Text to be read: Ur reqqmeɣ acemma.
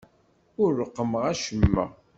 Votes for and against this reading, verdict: 2, 0, accepted